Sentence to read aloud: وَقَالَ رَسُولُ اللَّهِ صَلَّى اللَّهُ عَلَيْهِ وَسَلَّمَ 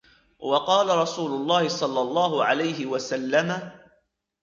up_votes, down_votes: 2, 0